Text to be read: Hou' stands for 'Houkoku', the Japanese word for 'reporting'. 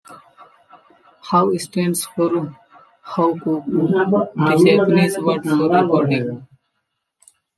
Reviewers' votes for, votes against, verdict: 0, 2, rejected